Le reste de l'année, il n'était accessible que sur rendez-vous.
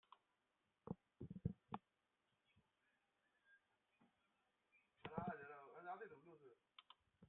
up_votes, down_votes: 0, 2